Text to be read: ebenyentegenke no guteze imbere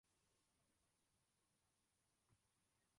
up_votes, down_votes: 0, 2